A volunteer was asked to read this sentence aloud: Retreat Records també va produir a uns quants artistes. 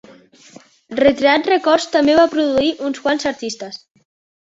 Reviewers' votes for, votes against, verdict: 1, 2, rejected